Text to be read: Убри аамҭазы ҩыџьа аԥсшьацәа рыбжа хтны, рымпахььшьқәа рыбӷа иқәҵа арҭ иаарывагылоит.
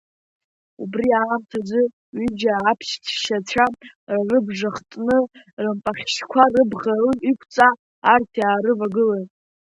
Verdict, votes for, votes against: rejected, 0, 2